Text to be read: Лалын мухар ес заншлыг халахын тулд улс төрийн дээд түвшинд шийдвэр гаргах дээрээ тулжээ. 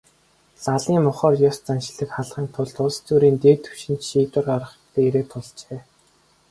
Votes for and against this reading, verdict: 2, 2, rejected